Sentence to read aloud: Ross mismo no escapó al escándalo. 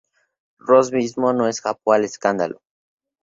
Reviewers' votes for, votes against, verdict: 6, 0, accepted